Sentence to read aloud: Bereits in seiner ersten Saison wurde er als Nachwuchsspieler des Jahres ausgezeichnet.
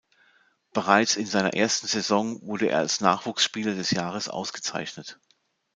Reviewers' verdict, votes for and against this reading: accepted, 2, 0